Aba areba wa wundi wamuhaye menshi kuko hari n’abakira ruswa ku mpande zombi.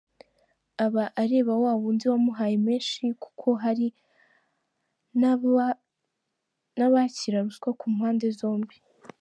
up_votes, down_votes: 0, 2